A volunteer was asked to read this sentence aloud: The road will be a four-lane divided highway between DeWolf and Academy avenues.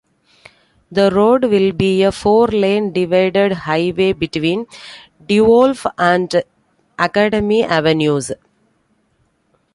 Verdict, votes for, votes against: rejected, 1, 2